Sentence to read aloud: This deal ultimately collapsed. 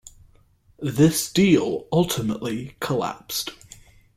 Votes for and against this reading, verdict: 2, 0, accepted